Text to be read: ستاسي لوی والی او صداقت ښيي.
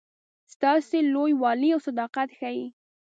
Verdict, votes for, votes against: rejected, 1, 2